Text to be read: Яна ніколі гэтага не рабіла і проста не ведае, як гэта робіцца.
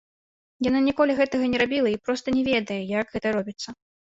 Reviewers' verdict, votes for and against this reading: rejected, 0, 2